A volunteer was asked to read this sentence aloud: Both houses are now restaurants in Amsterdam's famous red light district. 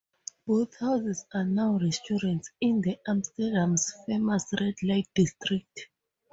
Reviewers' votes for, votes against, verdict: 2, 0, accepted